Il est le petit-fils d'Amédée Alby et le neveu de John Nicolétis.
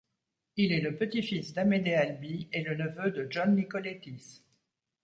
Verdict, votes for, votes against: accepted, 2, 0